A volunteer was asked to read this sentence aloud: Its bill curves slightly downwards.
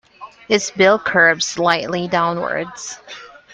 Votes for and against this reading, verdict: 1, 2, rejected